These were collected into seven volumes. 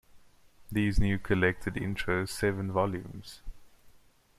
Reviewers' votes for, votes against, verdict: 0, 2, rejected